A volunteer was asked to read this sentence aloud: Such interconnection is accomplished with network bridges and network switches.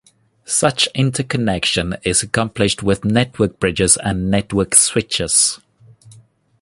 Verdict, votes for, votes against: accepted, 2, 0